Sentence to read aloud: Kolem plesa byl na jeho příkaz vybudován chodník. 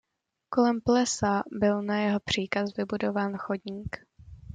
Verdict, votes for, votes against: accepted, 2, 0